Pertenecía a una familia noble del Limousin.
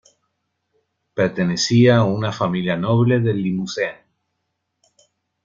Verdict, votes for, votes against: accepted, 2, 0